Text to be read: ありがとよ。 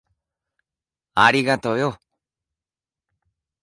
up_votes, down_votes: 2, 0